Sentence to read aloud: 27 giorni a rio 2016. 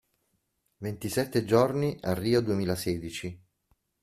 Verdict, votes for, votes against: rejected, 0, 2